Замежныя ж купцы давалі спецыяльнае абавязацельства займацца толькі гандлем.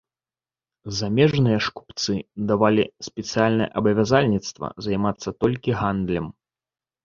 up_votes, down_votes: 2, 0